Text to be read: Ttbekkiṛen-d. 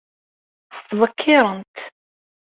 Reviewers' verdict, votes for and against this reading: rejected, 1, 2